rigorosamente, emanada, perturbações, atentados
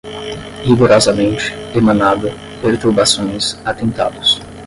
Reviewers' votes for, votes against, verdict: 5, 5, rejected